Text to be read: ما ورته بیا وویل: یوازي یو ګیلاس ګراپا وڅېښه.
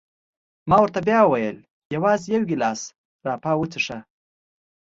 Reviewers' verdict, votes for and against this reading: accepted, 2, 0